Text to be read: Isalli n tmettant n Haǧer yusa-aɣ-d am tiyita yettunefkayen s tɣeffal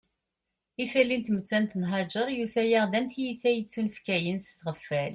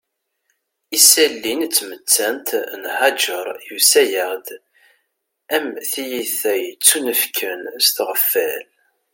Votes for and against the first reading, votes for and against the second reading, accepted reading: 2, 0, 1, 2, first